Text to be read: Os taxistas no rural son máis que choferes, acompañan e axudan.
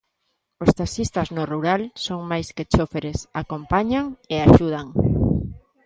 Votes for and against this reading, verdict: 0, 2, rejected